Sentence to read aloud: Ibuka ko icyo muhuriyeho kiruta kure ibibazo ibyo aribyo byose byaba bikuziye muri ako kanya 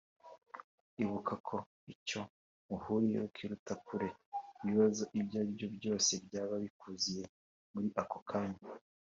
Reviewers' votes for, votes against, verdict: 2, 0, accepted